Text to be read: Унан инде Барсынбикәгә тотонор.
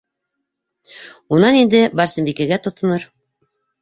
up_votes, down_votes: 2, 0